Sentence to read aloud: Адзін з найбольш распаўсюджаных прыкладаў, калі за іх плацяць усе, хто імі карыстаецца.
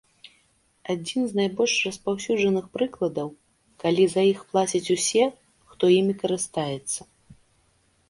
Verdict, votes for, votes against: accepted, 2, 0